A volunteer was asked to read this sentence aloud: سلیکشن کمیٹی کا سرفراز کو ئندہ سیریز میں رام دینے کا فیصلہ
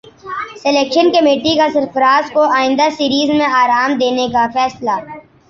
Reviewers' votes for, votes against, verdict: 2, 1, accepted